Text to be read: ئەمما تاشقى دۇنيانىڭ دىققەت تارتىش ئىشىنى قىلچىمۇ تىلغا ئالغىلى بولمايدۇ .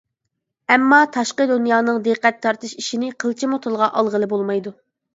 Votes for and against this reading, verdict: 2, 0, accepted